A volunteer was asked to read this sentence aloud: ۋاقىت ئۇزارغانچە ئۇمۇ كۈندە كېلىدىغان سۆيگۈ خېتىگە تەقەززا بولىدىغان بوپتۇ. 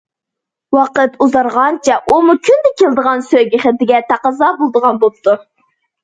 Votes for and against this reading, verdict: 2, 0, accepted